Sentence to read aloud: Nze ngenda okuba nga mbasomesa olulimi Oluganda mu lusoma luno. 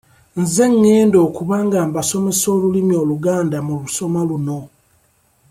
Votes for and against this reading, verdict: 2, 0, accepted